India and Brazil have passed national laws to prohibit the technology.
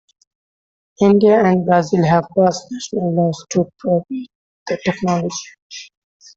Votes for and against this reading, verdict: 0, 2, rejected